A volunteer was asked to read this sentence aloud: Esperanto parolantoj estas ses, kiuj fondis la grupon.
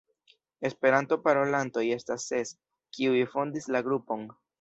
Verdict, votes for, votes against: rejected, 1, 2